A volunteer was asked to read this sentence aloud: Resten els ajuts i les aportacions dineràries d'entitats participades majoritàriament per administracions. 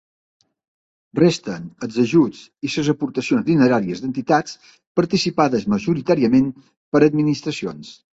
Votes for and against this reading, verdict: 0, 2, rejected